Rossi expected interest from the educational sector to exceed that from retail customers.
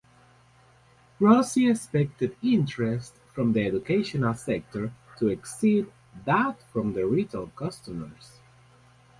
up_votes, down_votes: 0, 2